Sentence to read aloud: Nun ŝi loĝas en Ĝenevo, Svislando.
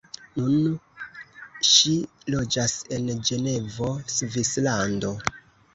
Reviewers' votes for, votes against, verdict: 1, 2, rejected